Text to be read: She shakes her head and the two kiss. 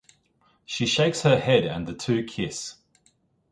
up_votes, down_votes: 2, 1